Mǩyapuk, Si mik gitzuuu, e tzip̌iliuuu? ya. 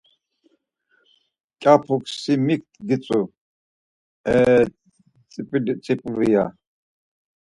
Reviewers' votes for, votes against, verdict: 4, 0, accepted